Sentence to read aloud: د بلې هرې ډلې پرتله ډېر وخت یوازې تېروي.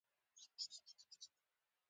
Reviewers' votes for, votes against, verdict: 0, 2, rejected